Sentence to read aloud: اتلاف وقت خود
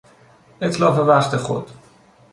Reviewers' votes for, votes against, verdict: 2, 0, accepted